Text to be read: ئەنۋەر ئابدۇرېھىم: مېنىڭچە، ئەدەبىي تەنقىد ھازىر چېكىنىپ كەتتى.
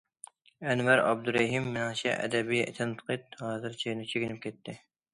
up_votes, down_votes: 0, 2